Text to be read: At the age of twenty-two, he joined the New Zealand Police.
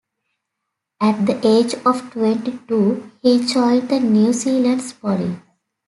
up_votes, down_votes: 2, 1